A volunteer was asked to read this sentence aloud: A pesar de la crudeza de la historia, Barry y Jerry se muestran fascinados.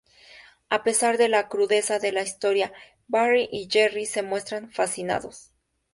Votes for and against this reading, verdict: 2, 0, accepted